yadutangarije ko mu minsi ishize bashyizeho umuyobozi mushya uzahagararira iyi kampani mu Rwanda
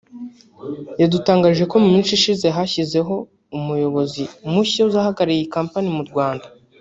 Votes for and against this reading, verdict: 1, 2, rejected